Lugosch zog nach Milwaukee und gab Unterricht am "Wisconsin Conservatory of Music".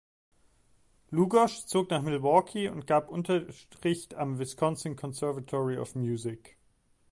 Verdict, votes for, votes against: rejected, 0, 3